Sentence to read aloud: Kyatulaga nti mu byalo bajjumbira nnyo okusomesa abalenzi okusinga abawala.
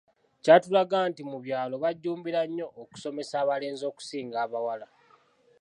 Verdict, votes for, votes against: accepted, 2, 0